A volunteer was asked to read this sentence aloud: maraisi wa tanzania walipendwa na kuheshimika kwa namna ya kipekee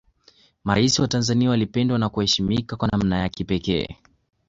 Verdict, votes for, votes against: accepted, 2, 1